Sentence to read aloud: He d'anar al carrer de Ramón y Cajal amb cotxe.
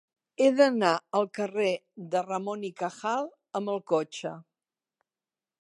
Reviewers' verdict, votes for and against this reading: rejected, 1, 2